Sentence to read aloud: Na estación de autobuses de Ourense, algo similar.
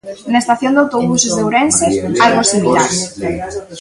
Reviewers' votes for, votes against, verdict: 1, 2, rejected